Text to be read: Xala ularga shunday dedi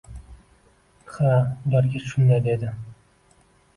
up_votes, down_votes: 2, 1